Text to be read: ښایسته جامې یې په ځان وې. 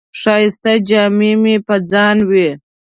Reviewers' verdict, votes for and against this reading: accepted, 2, 0